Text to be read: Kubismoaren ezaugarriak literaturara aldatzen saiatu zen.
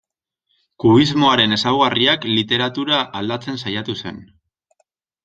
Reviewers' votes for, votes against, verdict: 0, 2, rejected